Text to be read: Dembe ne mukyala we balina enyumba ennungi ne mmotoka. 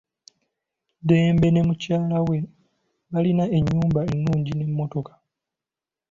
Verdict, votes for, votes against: accepted, 2, 0